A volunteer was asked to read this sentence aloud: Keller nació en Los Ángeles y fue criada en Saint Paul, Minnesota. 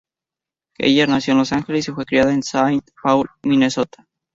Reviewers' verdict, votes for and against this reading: accepted, 2, 0